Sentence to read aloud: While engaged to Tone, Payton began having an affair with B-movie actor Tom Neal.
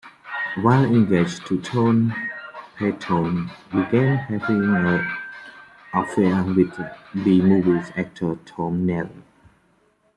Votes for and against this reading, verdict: 0, 2, rejected